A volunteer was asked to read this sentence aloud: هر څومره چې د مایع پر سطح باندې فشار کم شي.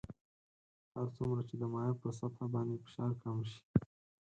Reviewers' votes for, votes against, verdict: 2, 4, rejected